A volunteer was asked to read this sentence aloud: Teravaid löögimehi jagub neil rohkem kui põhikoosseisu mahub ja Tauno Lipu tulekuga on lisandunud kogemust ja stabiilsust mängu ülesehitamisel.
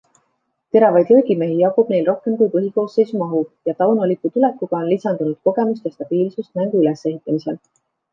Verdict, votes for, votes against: accepted, 2, 1